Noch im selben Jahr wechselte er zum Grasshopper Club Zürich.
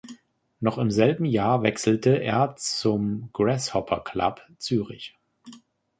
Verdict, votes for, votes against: rejected, 2, 3